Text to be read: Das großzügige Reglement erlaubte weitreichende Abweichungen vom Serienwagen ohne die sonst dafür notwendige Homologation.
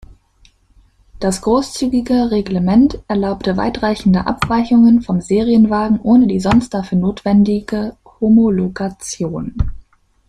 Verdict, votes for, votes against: rejected, 1, 2